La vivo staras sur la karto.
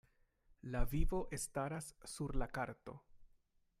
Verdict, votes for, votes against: rejected, 0, 2